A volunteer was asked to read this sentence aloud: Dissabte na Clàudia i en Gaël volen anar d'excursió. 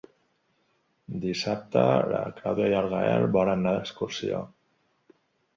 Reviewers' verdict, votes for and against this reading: rejected, 1, 2